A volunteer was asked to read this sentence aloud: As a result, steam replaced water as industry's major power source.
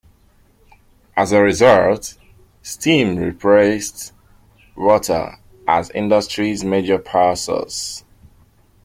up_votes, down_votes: 2, 0